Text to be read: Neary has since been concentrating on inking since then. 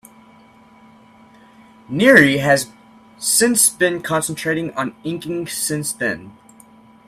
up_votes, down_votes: 2, 1